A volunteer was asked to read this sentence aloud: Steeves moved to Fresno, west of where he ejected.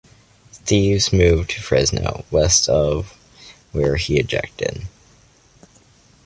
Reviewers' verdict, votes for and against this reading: accepted, 2, 0